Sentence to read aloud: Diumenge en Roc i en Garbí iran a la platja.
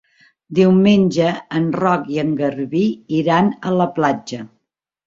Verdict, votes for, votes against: accepted, 3, 0